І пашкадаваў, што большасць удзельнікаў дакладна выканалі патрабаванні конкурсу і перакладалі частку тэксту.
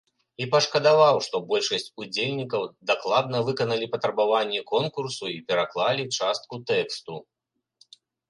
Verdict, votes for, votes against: rejected, 1, 2